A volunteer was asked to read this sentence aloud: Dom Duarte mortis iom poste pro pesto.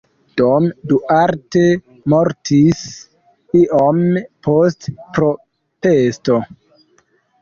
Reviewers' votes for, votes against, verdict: 1, 2, rejected